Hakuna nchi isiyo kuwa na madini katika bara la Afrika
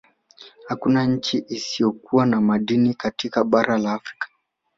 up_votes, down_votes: 1, 2